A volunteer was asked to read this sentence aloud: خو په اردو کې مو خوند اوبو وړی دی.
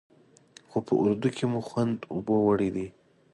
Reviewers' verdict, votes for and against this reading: accepted, 2, 0